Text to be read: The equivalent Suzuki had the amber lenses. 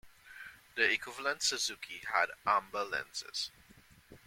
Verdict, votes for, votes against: rejected, 1, 2